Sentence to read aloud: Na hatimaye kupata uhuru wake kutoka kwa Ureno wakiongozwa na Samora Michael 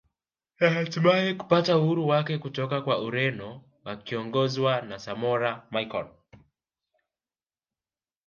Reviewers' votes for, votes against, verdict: 1, 2, rejected